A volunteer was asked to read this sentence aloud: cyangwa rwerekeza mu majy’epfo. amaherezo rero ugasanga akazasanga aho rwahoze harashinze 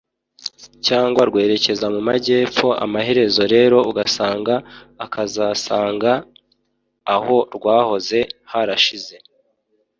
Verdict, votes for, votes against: rejected, 0, 2